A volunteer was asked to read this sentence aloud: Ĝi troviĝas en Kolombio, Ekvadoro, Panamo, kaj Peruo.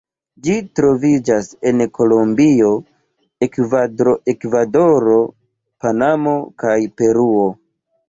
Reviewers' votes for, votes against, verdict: 1, 2, rejected